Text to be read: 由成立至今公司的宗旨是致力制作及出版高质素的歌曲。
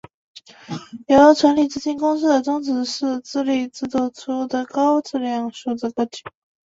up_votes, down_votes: 1, 3